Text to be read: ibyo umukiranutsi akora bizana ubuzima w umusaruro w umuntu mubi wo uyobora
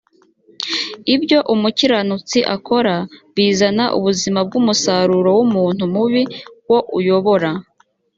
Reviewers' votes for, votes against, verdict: 2, 0, accepted